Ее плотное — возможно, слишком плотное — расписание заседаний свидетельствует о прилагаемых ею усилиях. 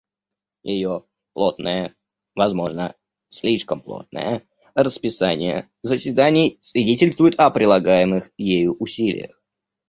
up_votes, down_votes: 1, 2